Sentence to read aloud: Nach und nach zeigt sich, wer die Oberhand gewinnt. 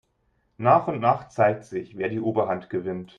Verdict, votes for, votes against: accepted, 2, 0